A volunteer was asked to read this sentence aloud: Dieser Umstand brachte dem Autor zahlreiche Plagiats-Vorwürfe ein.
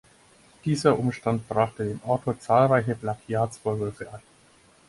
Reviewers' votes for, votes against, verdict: 2, 4, rejected